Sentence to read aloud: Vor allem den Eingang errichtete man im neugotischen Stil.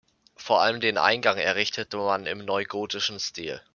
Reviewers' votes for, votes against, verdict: 1, 2, rejected